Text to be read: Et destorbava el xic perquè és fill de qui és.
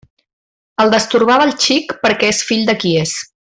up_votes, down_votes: 1, 2